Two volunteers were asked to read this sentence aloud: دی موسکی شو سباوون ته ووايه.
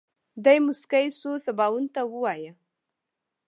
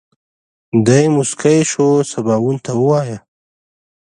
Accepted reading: second